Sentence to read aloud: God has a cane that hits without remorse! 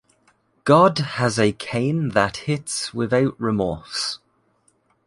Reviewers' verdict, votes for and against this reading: accepted, 2, 0